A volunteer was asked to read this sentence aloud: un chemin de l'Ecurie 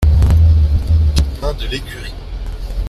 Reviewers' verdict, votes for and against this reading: rejected, 1, 2